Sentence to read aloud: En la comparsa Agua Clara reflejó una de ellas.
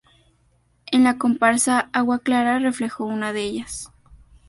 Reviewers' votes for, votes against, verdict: 2, 0, accepted